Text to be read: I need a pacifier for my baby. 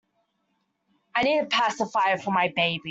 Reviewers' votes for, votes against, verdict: 0, 2, rejected